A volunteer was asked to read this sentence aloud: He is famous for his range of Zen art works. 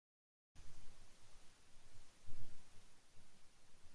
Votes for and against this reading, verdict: 0, 2, rejected